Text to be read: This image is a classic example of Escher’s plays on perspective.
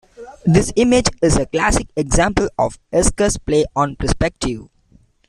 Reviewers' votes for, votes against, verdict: 1, 2, rejected